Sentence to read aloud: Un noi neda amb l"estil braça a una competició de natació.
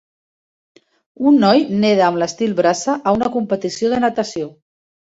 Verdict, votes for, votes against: accepted, 2, 0